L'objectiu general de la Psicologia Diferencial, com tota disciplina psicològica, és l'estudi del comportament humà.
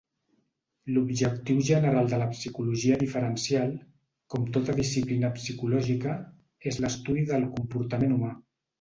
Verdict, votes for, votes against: accepted, 2, 0